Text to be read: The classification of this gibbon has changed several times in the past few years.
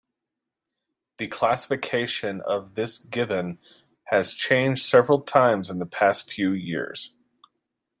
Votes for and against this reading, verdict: 2, 0, accepted